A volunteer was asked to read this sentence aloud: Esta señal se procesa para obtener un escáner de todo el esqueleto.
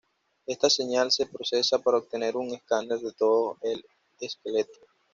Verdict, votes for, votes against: accepted, 2, 0